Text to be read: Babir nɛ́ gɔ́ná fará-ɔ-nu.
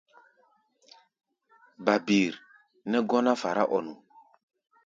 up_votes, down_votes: 2, 0